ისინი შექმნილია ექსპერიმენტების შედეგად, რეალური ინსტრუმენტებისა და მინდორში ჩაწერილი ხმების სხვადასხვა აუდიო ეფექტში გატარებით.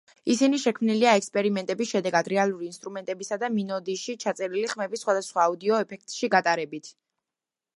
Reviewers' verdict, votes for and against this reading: rejected, 1, 2